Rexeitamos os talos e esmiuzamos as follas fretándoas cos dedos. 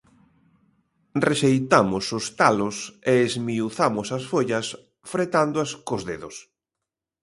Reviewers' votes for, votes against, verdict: 2, 0, accepted